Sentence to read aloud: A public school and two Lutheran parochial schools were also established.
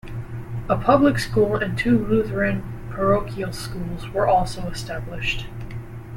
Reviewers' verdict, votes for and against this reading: rejected, 0, 2